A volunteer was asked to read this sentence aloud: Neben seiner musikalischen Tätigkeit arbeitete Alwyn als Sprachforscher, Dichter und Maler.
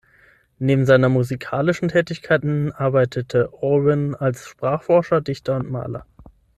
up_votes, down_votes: 0, 6